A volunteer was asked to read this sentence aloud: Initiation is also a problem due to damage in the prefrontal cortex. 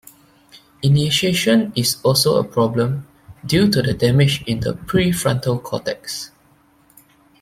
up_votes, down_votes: 1, 2